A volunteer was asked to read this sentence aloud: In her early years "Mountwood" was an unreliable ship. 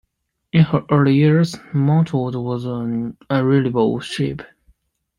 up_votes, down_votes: 0, 2